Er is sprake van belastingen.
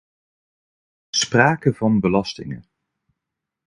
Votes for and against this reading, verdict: 0, 2, rejected